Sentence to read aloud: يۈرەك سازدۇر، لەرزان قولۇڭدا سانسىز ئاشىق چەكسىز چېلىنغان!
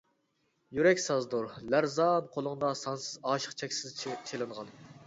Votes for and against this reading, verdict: 1, 2, rejected